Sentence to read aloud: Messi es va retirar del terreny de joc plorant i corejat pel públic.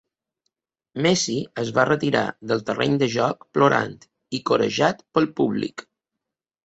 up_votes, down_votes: 2, 0